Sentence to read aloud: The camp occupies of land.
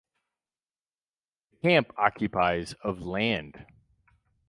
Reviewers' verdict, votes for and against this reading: rejected, 0, 4